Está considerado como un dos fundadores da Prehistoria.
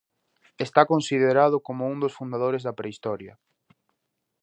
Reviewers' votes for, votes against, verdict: 2, 0, accepted